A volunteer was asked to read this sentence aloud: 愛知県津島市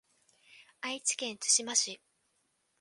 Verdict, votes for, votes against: accepted, 2, 0